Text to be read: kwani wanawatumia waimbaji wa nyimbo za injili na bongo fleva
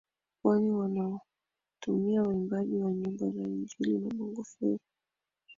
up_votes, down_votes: 2, 1